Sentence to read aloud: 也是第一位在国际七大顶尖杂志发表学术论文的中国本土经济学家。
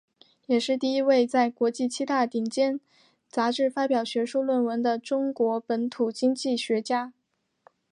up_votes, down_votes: 3, 1